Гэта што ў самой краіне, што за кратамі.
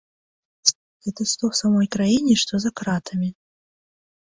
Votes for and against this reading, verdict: 2, 0, accepted